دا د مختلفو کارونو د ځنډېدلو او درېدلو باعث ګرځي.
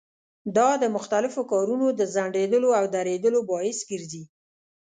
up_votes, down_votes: 2, 0